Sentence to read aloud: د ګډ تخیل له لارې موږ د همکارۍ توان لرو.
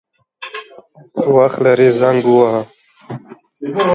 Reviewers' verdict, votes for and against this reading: rejected, 0, 2